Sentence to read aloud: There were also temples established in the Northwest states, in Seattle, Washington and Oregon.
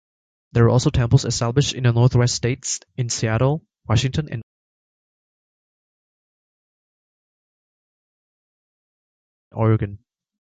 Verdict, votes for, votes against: accepted, 2, 0